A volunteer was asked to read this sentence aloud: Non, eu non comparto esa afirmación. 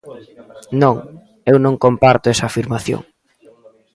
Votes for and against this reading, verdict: 1, 2, rejected